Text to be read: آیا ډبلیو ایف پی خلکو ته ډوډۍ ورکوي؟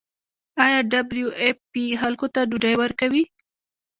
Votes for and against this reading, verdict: 1, 2, rejected